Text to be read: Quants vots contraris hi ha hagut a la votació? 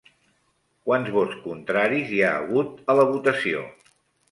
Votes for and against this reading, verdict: 3, 0, accepted